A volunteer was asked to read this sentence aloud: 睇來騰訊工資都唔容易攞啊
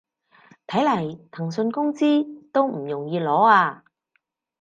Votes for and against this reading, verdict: 2, 4, rejected